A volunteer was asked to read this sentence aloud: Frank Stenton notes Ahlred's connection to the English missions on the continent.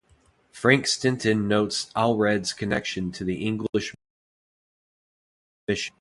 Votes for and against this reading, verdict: 0, 2, rejected